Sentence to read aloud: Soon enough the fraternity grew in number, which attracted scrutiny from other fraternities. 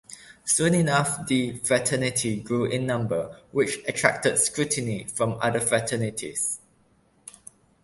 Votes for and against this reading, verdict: 0, 2, rejected